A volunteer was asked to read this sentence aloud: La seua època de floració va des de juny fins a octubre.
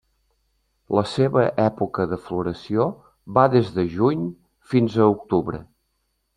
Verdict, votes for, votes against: rejected, 1, 2